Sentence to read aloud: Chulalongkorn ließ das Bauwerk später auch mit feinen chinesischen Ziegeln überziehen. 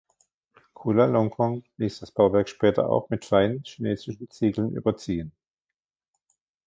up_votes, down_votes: 2, 1